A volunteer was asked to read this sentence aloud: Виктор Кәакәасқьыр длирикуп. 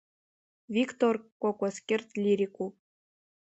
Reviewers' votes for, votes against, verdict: 3, 2, accepted